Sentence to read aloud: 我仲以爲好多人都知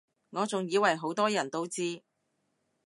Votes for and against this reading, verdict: 2, 0, accepted